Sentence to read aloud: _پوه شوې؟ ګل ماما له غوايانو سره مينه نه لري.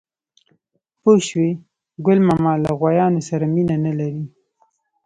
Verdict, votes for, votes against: accepted, 3, 0